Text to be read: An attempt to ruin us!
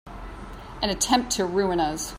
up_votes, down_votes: 2, 0